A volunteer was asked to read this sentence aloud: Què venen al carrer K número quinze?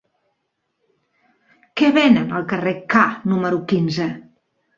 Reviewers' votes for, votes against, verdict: 3, 0, accepted